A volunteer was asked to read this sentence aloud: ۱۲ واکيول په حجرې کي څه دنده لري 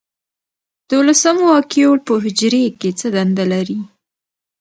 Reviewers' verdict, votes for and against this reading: rejected, 0, 2